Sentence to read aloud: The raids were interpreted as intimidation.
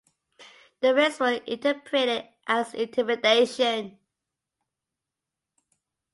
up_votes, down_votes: 2, 0